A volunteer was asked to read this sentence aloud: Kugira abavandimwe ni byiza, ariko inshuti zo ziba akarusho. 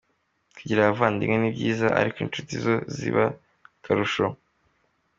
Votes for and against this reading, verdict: 2, 1, accepted